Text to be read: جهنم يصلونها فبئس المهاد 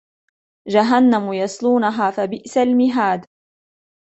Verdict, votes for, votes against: accepted, 2, 0